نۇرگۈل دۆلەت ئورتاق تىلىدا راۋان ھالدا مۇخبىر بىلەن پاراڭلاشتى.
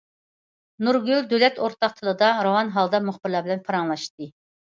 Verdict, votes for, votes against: rejected, 1, 2